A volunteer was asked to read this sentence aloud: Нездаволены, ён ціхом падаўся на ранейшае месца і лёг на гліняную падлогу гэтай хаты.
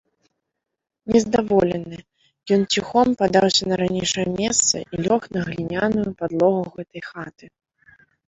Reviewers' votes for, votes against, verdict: 0, 2, rejected